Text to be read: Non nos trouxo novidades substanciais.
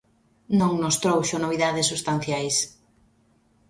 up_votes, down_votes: 2, 0